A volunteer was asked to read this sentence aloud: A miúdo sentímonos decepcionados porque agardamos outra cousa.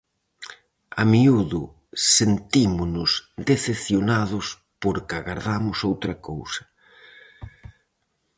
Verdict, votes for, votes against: accepted, 4, 0